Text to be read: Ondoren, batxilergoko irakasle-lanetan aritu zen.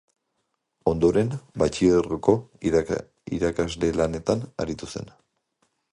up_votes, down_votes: 2, 1